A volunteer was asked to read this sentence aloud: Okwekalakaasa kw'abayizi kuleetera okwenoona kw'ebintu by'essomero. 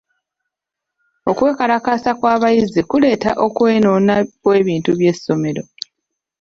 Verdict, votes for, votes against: rejected, 0, 2